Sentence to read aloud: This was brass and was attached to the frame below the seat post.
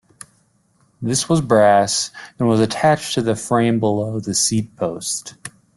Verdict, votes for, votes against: accepted, 2, 0